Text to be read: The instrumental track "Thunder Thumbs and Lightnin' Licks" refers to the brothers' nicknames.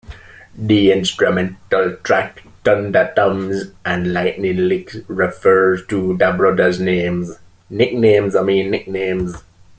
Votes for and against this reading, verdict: 0, 2, rejected